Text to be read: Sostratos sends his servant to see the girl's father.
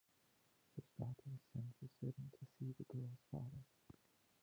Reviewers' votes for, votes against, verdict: 0, 2, rejected